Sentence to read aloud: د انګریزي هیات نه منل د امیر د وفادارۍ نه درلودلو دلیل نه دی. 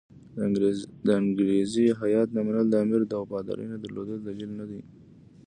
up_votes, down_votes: 2, 0